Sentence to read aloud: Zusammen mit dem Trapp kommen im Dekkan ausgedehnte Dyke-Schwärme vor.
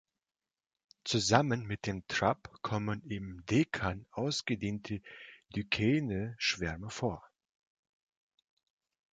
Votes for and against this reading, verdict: 1, 2, rejected